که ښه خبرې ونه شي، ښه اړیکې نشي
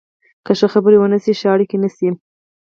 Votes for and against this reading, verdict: 0, 4, rejected